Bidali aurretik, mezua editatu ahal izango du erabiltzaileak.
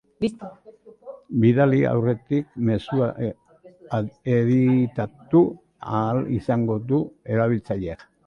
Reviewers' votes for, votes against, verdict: 0, 3, rejected